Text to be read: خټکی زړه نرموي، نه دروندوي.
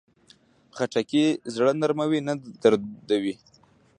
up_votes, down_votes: 0, 2